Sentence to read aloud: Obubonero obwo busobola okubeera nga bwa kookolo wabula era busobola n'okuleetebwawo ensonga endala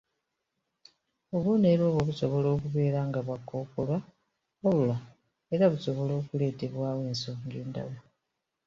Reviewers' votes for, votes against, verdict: 1, 2, rejected